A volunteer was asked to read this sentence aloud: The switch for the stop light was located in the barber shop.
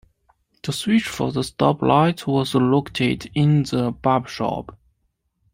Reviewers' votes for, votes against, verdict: 2, 1, accepted